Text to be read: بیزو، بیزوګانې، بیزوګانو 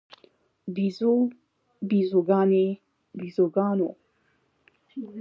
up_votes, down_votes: 2, 0